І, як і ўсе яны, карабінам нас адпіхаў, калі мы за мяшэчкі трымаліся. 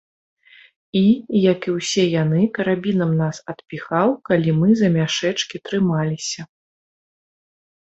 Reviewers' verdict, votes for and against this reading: accepted, 3, 0